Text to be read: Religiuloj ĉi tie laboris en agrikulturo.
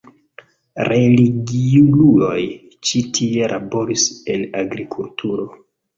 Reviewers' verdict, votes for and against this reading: rejected, 0, 2